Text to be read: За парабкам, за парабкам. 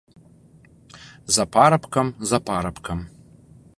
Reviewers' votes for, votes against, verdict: 2, 0, accepted